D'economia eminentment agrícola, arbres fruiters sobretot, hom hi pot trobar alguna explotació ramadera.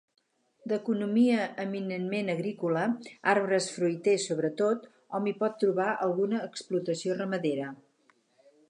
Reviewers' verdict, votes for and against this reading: accepted, 4, 0